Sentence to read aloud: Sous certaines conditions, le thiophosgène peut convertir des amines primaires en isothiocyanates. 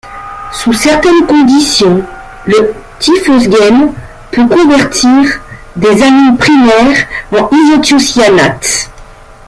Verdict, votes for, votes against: rejected, 1, 2